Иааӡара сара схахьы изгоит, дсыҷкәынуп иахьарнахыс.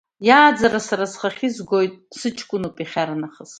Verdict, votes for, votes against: accepted, 2, 0